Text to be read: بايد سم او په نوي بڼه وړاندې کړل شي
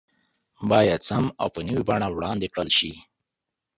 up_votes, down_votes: 3, 0